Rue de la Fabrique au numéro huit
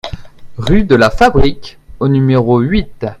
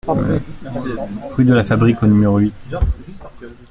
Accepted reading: first